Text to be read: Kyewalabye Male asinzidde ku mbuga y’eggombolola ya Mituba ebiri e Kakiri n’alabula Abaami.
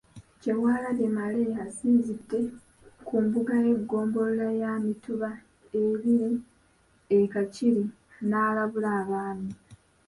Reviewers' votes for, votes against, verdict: 1, 2, rejected